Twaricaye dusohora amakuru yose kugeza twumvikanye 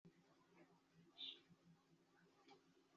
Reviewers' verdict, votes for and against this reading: rejected, 1, 2